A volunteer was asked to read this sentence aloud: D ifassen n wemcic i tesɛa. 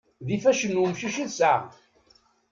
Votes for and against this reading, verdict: 1, 2, rejected